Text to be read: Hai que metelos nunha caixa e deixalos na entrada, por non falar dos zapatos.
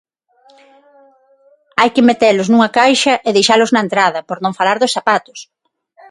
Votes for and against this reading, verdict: 6, 0, accepted